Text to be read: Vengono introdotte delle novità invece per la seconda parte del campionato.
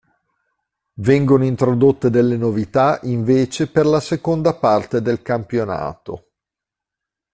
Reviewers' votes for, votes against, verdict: 2, 0, accepted